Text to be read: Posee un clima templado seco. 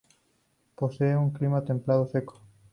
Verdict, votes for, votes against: accepted, 2, 0